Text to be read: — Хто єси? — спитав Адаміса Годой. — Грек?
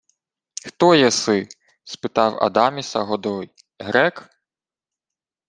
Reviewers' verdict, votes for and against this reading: accepted, 2, 0